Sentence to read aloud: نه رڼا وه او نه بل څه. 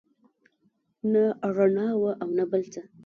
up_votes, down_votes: 1, 2